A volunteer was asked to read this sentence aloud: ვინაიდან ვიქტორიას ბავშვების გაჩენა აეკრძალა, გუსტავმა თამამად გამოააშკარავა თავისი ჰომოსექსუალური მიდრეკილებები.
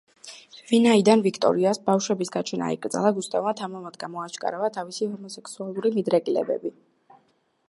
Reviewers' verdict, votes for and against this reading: rejected, 1, 2